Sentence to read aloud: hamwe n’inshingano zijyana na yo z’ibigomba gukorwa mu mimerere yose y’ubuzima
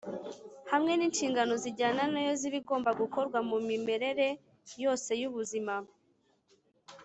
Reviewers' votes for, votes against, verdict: 3, 1, accepted